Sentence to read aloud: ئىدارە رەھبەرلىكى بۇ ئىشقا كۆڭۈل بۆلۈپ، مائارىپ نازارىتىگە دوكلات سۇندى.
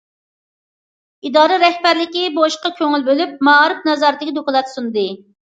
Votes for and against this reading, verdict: 2, 0, accepted